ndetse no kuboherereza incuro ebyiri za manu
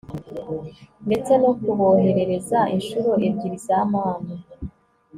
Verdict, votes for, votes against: accepted, 2, 0